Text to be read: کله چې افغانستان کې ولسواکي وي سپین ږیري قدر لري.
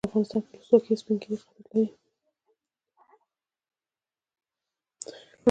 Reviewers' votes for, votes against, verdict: 1, 2, rejected